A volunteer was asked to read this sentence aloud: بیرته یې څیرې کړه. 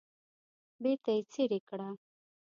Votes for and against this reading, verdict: 2, 0, accepted